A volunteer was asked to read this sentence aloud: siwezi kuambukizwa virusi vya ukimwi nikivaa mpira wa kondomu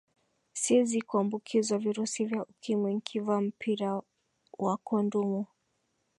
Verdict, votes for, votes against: rejected, 1, 4